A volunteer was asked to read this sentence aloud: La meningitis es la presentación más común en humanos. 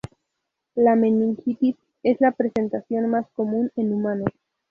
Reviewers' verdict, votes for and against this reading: accepted, 4, 0